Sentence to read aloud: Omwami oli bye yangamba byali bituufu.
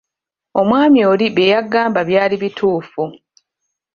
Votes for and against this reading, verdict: 0, 2, rejected